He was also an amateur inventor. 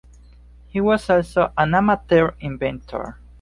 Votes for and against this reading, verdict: 2, 1, accepted